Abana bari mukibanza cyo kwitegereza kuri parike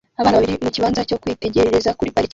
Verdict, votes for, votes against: rejected, 0, 2